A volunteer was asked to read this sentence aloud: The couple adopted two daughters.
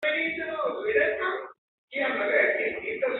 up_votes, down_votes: 0, 2